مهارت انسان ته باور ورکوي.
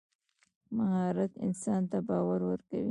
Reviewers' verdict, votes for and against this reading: rejected, 0, 2